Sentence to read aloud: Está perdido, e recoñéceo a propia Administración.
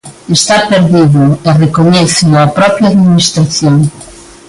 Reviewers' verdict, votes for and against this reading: accepted, 2, 1